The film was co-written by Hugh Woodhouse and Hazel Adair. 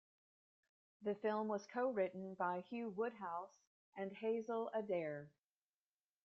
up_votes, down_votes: 2, 0